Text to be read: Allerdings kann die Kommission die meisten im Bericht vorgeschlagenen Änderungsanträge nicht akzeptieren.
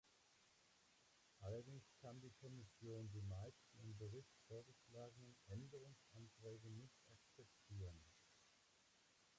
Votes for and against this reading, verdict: 0, 3, rejected